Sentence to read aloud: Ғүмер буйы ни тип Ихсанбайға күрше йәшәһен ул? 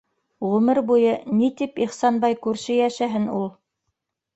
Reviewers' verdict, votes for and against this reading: rejected, 1, 2